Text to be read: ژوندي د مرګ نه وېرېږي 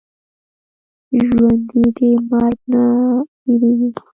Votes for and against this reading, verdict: 2, 0, accepted